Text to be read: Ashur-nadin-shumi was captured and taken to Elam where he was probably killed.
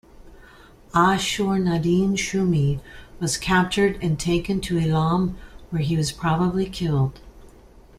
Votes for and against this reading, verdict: 2, 0, accepted